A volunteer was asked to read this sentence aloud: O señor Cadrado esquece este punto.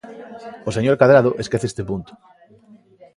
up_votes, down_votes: 2, 0